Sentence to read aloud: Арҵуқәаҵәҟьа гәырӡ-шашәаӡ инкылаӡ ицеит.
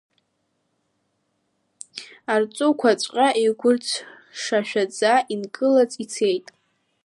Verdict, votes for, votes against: rejected, 1, 2